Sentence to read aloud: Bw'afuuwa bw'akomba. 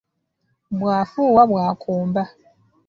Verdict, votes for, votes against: accepted, 2, 0